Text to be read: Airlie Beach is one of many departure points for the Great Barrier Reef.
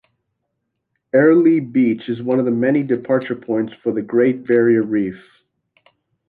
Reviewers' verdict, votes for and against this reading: rejected, 1, 2